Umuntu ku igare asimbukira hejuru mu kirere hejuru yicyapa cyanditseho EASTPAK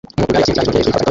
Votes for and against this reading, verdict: 0, 2, rejected